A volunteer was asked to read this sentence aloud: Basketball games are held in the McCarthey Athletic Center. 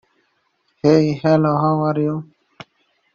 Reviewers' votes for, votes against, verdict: 0, 2, rejected